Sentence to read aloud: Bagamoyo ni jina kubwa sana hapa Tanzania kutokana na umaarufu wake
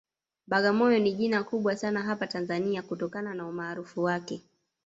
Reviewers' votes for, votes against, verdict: 1, 2, rejected